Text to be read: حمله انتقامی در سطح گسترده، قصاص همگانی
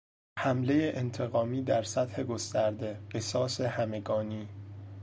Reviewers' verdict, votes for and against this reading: accepted, 2, 0